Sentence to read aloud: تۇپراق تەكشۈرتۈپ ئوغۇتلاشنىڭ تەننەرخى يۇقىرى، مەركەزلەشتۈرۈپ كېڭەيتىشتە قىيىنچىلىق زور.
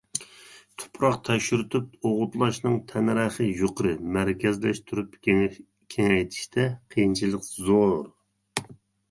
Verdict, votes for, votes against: rejected, 0, 2